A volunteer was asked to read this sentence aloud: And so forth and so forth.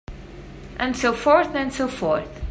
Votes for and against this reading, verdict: 3, 0, accepted